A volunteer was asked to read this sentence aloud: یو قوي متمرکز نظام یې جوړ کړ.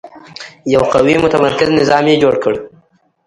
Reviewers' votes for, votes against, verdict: 1, 2, rejected